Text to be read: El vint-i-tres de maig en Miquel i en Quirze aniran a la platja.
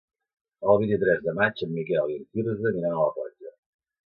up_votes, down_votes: 2, 0